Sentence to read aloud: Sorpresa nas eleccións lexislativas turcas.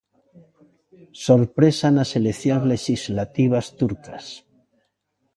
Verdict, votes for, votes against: accepted, 2, 0